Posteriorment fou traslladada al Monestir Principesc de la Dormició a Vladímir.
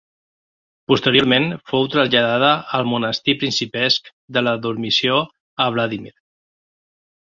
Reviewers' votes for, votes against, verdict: 0, 2, rejected